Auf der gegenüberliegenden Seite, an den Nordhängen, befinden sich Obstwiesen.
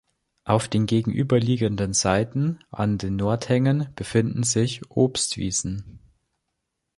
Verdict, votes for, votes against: rejected, 0, 2